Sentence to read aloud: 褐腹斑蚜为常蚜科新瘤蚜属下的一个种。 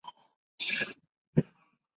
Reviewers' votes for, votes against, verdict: 0, 4, rejected